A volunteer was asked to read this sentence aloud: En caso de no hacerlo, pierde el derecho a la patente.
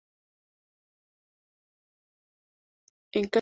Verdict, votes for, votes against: rejected, 0, 2